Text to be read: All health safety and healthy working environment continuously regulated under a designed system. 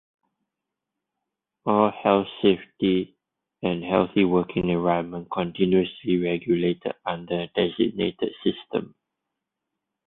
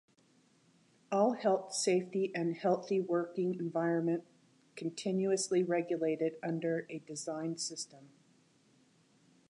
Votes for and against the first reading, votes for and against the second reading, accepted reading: 0, 2, 2, 0, second